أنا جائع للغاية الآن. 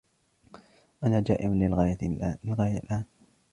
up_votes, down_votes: 0, 2